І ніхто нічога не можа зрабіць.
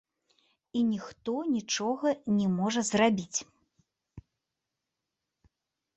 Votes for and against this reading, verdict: 2, 1, accepted